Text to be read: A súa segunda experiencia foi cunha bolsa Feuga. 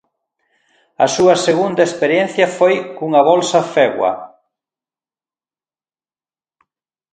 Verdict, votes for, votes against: rejected, 0, 2